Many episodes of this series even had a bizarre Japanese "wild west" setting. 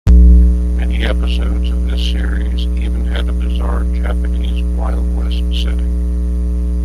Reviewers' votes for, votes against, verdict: 2, 1, accepted